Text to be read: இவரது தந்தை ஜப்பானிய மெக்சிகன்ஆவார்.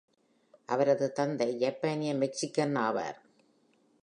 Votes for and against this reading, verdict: 1, 2, rejected